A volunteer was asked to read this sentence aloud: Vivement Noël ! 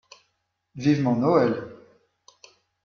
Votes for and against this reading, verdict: 2, 0, accepted